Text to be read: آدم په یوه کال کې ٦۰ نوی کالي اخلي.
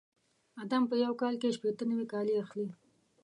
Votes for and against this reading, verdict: 0, 2, rejected